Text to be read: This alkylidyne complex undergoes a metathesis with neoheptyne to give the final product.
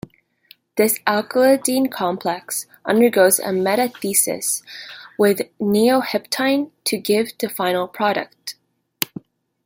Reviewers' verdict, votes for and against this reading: accepted, 2, 0